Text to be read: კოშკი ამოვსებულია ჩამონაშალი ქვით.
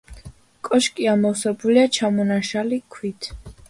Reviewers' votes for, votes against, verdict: 1, 2, rejected